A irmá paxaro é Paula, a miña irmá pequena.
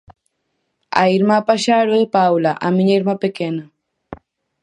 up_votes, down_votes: 4, 0